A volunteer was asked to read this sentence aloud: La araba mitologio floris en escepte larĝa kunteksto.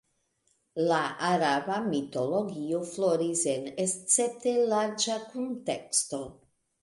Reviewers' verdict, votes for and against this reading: accepted, 2, 0